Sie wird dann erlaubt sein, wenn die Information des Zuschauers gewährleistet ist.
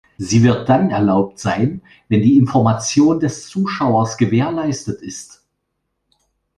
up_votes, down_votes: 2, 0